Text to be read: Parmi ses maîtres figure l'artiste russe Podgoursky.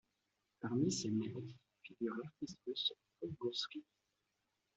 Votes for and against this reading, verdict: 0, 2, rejected